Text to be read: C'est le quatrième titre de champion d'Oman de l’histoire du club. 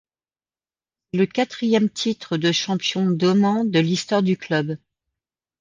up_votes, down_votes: 1, 2